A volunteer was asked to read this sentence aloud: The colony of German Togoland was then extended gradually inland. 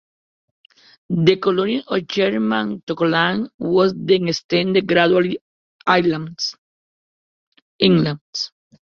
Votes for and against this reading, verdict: 0, 2, rejected